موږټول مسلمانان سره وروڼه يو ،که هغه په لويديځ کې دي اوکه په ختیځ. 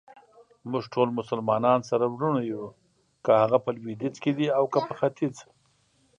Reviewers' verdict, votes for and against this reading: accepted, 2, 0